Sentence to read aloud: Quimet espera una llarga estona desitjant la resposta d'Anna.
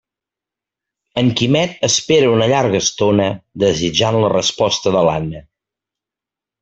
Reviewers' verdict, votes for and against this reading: rejected, 0, 2